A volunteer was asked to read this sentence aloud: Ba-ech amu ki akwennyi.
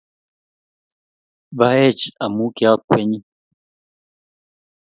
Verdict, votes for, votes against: accepted, 2, 0